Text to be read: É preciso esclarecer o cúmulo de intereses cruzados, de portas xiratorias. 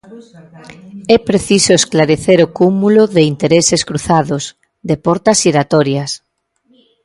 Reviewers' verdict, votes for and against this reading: rejected, 1, 2